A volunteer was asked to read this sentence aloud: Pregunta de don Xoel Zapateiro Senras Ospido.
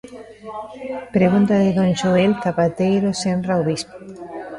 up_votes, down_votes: 0, 2